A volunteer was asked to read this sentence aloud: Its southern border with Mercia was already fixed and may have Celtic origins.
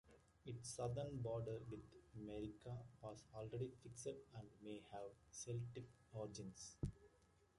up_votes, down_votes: 0, 2